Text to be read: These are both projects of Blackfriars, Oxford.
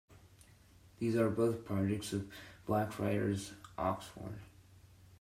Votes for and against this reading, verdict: 2, 0, accepted